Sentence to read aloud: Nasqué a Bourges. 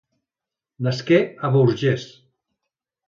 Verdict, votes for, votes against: rejected, 0, 2